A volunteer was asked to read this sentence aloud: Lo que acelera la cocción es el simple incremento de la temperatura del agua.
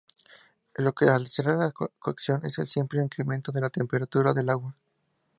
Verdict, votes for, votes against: rejected, 0, 2